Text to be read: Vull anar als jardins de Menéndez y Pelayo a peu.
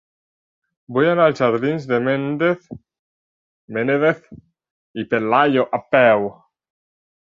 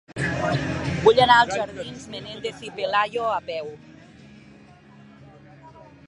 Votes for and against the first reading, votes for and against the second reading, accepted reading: 0, 2, 2, 1, second